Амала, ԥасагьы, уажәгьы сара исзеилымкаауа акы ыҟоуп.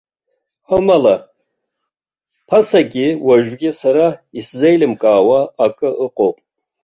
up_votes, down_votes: 0, 2